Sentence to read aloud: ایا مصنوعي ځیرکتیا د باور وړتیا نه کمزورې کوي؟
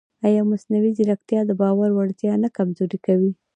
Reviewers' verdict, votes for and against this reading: rejected, 1, 2